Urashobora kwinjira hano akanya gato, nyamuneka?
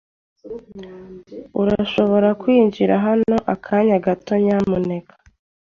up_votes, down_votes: 2, 0